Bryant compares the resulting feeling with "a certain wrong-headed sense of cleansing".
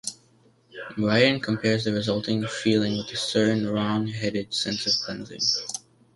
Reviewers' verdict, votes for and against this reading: rejected, 0, 2